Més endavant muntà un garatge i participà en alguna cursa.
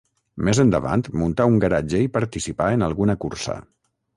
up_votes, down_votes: 3, 3